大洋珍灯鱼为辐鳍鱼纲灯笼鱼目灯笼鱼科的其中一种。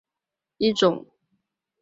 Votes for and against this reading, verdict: 0, 5, rejected